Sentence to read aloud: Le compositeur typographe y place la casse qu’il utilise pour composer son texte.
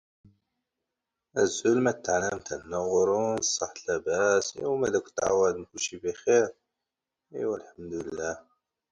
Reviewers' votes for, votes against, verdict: 0, 2, rejected